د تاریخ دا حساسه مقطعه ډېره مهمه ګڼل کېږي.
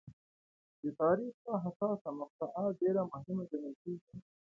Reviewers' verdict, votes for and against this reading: rejected, 1, 2